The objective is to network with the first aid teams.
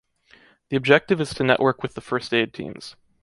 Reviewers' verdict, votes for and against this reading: rejected, 1, 2